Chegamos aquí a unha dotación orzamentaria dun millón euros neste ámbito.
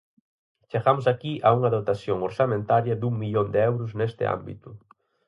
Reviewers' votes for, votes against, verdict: 2, 2, rejected